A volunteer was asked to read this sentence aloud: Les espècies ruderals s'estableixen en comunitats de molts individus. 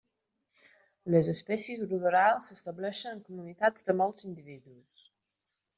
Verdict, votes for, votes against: accepted, 2, 1